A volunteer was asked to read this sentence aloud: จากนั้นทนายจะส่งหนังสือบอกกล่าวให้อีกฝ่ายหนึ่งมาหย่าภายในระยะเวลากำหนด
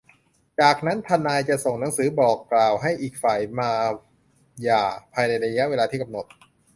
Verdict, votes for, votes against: rejected, 0, 2